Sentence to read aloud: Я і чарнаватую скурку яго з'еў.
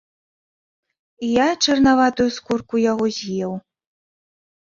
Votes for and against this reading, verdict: 1, 2, rejected